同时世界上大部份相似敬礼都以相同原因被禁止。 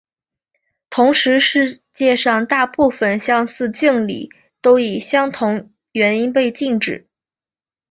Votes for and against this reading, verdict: 2, 0, accepted